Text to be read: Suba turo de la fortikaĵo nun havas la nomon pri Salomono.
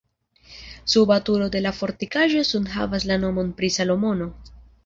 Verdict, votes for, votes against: accepted, 2, 0